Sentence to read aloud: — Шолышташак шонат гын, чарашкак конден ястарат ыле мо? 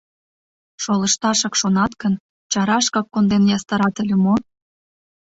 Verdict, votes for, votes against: accepted, 2, 0